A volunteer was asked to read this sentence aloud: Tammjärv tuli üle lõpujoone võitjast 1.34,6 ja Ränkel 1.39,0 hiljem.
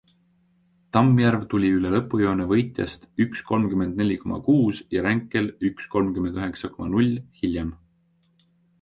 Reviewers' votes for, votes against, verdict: 0, 2, rejected